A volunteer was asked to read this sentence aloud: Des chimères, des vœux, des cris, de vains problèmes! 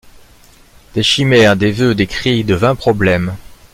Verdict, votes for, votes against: accepted, 2, 0